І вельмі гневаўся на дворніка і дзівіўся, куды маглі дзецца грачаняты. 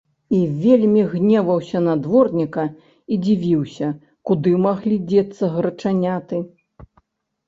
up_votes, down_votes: 3, 0